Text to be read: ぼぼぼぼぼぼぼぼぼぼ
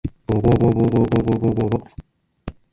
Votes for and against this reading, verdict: 1, 2, rejected